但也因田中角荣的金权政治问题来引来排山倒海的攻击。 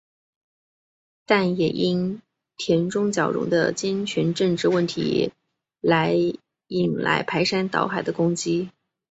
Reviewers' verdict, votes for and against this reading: rejected, 1, 2